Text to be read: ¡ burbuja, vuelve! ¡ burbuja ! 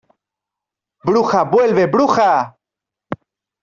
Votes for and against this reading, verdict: 0, 3, rejected